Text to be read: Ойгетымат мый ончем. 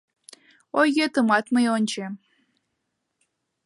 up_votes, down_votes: 0, 2